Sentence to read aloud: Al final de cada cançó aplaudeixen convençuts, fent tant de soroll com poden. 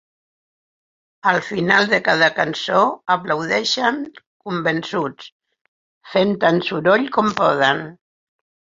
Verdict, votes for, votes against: rejected, 4, 6